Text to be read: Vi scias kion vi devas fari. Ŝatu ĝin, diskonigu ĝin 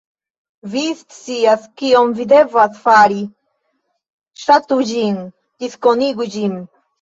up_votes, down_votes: 0, 2